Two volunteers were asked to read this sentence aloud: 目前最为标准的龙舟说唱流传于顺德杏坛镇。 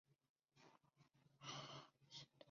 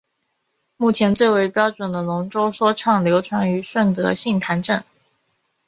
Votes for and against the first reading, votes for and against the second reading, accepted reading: 2, 7, 2, 0, second